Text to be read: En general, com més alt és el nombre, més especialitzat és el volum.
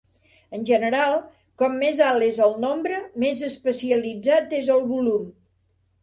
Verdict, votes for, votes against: accepted, 3, 0